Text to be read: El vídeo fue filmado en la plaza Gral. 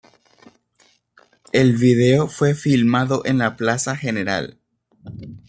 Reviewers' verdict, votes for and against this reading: rejected, 1, 2